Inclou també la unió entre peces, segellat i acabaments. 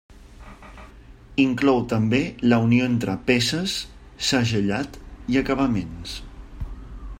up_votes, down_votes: 2, 0